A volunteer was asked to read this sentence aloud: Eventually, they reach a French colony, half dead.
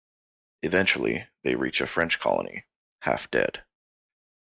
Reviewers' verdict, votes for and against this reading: accepted, 2, 0